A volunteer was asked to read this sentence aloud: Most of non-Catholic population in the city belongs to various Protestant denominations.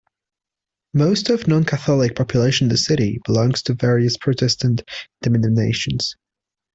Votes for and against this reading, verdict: 2, 0, accepted